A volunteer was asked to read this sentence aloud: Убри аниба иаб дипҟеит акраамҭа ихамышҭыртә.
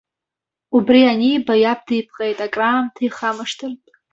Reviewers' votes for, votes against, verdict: 2, 0, accepted